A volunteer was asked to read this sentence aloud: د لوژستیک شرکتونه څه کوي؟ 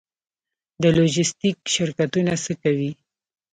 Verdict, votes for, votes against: accepted, 2, 0